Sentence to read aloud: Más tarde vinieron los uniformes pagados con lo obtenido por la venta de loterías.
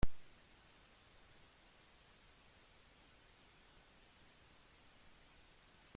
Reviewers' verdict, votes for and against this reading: rejected, 0, 2